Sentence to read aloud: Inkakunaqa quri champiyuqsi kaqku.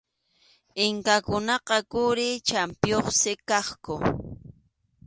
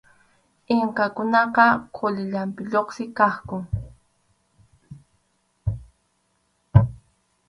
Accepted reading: first